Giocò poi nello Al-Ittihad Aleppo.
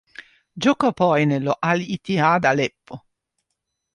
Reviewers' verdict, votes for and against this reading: accepted, 2, 0